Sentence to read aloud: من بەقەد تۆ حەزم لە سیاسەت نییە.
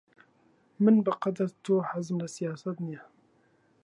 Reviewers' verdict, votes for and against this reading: rejected, 0, 2